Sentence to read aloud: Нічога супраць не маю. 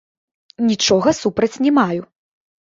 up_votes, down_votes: 1, 2